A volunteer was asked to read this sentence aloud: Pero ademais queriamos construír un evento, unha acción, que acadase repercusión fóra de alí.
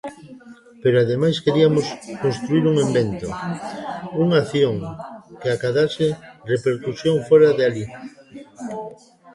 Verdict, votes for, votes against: rejected, 0, 2